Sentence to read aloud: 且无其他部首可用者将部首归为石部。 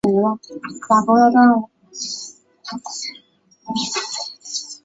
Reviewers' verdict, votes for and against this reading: rejected, 0, 4